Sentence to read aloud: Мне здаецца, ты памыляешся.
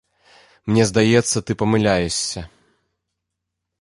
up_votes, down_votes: 1, 2